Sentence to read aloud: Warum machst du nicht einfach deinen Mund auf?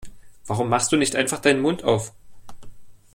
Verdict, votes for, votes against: accepted, 2, 0